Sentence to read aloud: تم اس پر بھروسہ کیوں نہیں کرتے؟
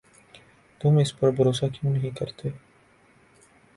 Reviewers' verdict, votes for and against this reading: accepted, 2, 0